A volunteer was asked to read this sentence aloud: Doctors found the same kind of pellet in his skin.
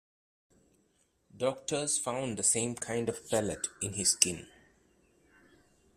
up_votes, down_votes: 2, 0